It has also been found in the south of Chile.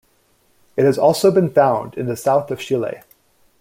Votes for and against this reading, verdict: 2, 0, accepted